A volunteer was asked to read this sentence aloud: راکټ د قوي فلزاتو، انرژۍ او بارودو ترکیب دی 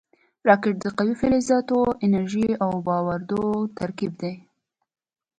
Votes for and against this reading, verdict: 0, 2, rejected